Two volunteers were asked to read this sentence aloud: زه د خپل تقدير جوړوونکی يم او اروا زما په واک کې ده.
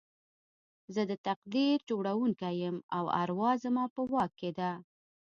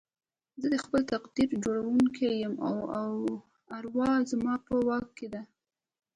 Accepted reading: second